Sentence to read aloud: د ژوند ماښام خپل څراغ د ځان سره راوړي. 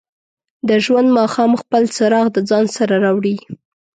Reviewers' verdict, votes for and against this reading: accepted, 3, 0